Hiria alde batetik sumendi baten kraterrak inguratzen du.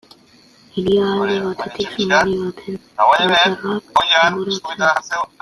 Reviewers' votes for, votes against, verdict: 0, 2, rejected